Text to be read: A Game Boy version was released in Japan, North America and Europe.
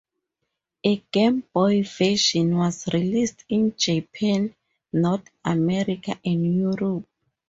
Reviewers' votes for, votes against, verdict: 2, 2, rejected